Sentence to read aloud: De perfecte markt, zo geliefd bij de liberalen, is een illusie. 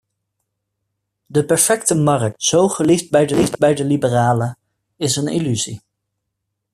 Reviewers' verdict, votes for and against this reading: rejected, 0, 2